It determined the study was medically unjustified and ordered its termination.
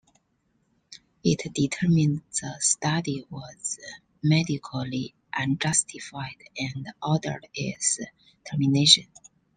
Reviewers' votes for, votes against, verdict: 2, 0, accepted